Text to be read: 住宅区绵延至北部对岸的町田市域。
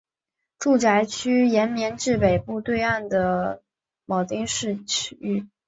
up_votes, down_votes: 2, 1